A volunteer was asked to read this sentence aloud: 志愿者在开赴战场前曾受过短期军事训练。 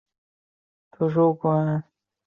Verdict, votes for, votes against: rejected, 1, 2